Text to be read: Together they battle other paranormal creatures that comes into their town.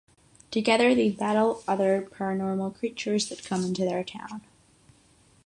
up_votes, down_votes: 3, 3